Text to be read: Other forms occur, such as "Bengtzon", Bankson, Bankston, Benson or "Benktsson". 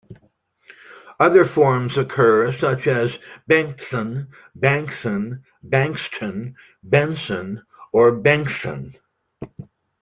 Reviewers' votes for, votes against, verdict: 2, 0, accepted